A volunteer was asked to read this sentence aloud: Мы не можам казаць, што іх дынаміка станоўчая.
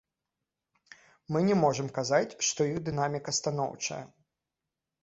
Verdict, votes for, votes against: accepted, 2, 0